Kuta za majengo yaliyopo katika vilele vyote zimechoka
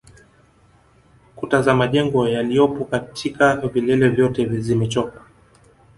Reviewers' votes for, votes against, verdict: 0, 2, rejected